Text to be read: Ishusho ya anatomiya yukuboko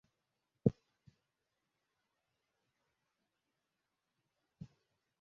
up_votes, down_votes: 0, 2